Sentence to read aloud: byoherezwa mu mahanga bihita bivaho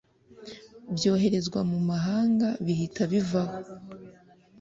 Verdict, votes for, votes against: accepted, 2, 0